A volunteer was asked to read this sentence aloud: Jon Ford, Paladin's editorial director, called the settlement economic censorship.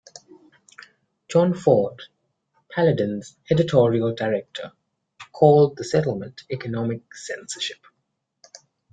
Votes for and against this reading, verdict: 2, 0, accepted